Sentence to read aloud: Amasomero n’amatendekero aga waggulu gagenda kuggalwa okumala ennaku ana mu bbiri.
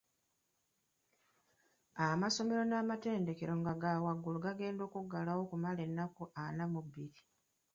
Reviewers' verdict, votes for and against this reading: rejected, 0, 2